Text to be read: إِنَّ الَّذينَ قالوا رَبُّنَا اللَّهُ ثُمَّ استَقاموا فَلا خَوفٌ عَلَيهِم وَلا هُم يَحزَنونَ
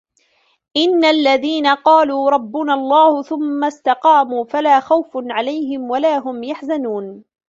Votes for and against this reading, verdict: 1, 2, rejected